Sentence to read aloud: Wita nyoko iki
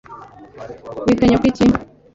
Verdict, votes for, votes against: accepted, 3, 0